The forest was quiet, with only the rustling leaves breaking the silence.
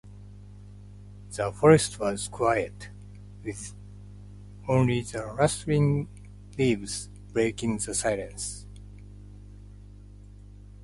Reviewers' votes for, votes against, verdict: 2, 0, accepted